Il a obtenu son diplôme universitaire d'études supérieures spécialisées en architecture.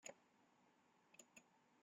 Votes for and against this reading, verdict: 1, 2, rejected